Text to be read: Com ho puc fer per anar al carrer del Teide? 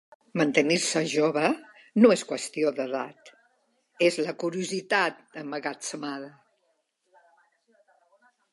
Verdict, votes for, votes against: rejected, 0, 2